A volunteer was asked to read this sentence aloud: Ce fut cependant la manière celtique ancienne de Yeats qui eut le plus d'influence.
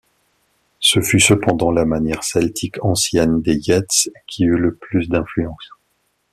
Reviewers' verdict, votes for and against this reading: rejected, 1, 2